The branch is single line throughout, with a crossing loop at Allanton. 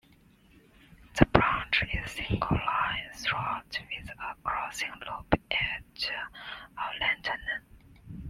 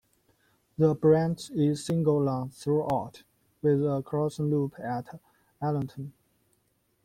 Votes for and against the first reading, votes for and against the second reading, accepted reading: 1, 2, 2, 0, second